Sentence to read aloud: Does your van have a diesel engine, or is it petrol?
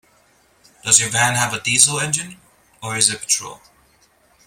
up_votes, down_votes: 0, 2